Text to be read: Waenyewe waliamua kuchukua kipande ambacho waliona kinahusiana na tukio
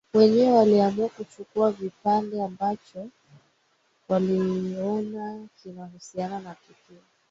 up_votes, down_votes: 2, 1